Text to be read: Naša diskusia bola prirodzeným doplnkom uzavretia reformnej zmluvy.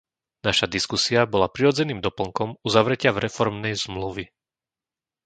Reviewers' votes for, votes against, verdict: 0, 2, rejected